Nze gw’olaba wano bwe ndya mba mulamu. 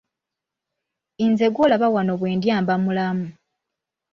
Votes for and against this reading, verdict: 1, 2, rejected